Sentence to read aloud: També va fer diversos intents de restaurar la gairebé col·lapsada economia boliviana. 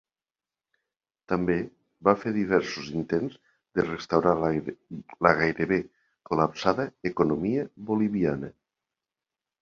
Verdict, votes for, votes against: rejected, 1, 2